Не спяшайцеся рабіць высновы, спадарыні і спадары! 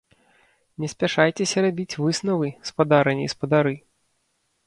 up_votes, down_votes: 0, 3